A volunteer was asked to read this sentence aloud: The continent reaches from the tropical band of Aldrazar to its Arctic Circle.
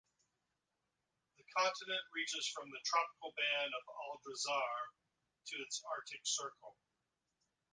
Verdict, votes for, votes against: accepted, 2, 0